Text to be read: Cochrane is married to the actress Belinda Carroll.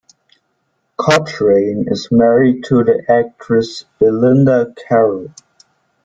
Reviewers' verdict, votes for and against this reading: accepted, 2, 1